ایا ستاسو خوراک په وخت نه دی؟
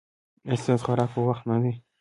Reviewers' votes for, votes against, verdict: 2, 0, accepted